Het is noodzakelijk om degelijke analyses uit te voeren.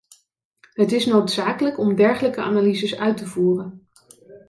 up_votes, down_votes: 1, 2